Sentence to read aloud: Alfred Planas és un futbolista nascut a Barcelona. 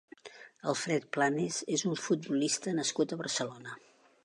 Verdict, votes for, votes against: rejected, 0, 2